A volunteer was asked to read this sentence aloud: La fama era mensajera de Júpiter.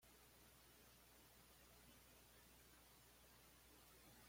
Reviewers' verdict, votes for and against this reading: rejected, 0, 2